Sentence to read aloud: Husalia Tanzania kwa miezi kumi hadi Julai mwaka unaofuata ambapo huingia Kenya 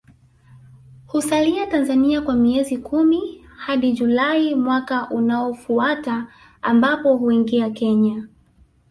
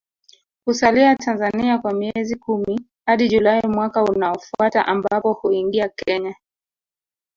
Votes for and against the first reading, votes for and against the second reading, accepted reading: 2, 1, 1, 2, first